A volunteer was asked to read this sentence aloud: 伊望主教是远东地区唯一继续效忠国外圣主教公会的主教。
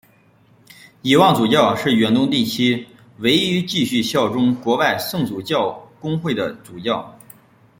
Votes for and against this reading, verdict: 1, 2, rejected